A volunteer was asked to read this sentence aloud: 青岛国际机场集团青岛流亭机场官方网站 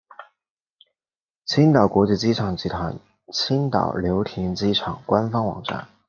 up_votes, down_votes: 2, 0